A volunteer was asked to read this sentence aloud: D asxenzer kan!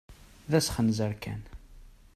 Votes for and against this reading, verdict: 2, 0, accepted